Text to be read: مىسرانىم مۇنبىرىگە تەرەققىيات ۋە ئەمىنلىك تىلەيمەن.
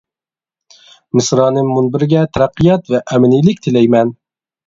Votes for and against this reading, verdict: 0, 2, rejected